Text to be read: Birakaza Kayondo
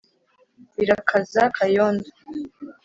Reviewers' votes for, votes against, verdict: 3, 0, accepted